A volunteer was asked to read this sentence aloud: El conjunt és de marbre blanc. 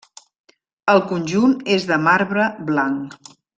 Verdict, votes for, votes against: rejected, 0, 2